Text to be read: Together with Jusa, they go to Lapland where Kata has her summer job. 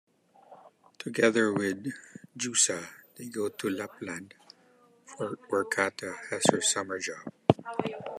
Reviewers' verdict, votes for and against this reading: accepted, 2, 0